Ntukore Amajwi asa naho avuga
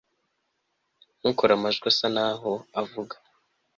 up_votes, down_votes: 3, 0